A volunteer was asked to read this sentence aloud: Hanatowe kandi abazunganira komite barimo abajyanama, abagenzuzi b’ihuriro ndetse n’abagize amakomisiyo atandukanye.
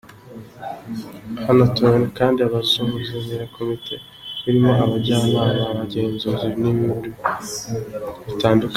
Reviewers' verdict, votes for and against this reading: rejected, 0, 2